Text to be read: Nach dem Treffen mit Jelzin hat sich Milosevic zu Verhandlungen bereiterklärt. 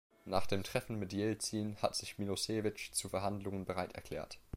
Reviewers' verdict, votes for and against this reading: rejected, 1, 2